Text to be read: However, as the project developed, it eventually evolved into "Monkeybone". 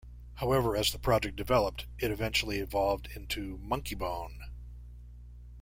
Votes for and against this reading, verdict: 1, 2, rejected